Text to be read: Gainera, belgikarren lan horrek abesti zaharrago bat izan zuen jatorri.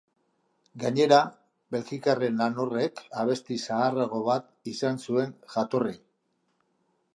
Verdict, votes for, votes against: accepted, 2, 0